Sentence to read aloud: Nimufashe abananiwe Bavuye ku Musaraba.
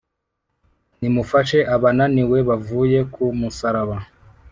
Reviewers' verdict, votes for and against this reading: accepted, 3, 0